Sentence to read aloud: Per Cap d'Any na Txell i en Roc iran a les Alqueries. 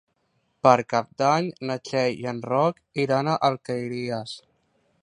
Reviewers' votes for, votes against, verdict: 1, 2, rejected